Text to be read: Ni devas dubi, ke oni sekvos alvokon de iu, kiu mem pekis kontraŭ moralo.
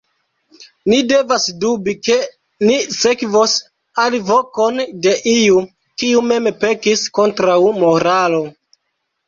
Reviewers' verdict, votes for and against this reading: rejected, 1, 2